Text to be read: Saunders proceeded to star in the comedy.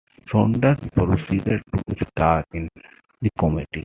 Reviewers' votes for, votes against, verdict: 2, 0, accepted